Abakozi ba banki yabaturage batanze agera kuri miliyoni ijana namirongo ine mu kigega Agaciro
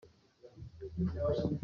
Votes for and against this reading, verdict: 0, 2, rejected